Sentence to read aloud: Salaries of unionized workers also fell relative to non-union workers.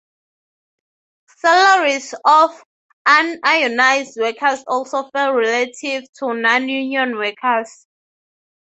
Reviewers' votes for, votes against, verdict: 3, 0, accepted